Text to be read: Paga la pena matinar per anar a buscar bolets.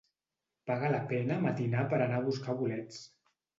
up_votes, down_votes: 2, 0